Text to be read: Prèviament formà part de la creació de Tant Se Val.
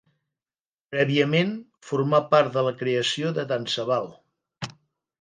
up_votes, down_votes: 2, 0